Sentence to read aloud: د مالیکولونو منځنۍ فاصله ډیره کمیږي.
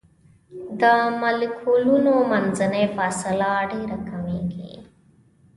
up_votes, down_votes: 2, 0